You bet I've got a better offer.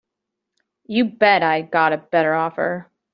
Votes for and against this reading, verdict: 2, 0, accepted